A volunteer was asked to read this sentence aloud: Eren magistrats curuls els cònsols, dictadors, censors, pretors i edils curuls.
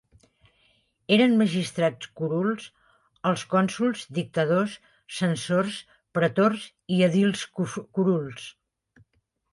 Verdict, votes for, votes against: rejected, 1, 2